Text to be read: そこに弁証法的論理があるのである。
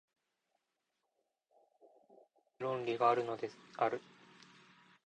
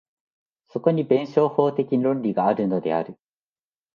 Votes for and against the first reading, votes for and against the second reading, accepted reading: 0, 2, 2, 0, second